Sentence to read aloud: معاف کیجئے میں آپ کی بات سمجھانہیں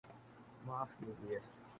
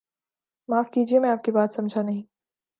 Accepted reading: second